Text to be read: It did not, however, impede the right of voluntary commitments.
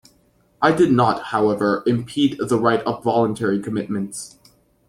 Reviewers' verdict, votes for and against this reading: rejected, 0, 2